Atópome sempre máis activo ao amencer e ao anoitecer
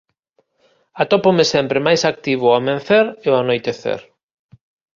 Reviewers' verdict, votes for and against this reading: accepted, 2, 1